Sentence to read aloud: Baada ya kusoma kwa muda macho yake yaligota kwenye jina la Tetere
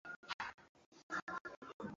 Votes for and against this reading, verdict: 0, 2, rejected